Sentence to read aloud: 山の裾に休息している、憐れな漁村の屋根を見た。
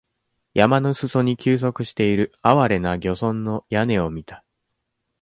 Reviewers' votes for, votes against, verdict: 1, 2, rejected